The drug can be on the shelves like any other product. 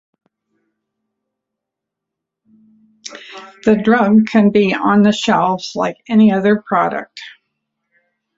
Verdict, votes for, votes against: accepted, 3, 0